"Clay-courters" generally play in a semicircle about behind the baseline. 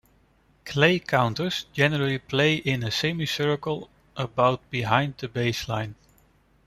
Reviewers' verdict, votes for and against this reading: rejected, 1, 2